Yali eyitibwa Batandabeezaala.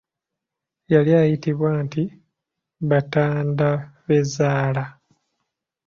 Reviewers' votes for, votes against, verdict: 0, 2, rejected